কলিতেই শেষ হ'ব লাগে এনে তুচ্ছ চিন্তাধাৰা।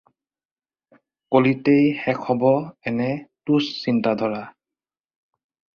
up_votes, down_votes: 2, 4